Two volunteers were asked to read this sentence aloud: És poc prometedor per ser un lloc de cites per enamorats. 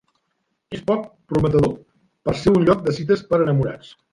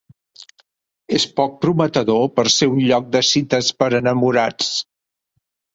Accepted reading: second